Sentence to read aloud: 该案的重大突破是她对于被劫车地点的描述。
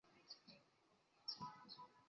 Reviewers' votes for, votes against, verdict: 0, 3, rejected